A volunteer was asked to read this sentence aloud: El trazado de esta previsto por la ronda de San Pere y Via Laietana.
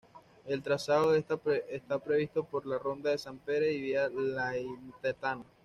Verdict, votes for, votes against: rejected, 1, 2